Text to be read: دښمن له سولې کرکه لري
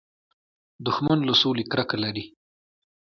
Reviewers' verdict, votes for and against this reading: accepted, 2, 0